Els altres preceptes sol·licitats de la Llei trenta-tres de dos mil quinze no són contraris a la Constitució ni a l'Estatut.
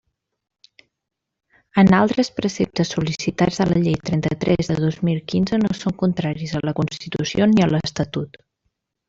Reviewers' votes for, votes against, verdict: 1, 2, rejected